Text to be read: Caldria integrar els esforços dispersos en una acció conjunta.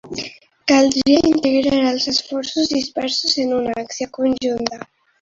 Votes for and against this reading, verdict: 0, 2, rejected